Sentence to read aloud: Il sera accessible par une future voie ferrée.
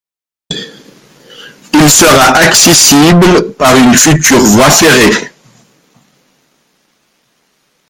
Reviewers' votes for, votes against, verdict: 0, 2, rejected